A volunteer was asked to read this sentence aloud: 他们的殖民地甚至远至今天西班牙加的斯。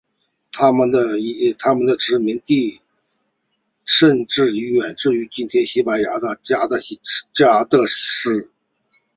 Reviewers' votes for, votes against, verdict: 1, 2, rejected